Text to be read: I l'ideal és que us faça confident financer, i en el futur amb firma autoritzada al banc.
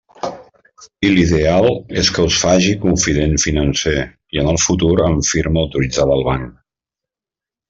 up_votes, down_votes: 1, 2